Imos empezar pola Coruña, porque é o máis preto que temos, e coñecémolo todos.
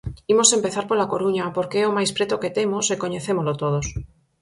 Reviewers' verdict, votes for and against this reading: accepted, 4, 0